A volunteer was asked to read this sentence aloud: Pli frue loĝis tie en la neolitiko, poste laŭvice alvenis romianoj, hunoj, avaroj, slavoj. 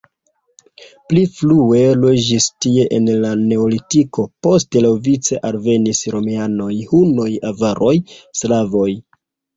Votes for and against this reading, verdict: 1, 2, rejected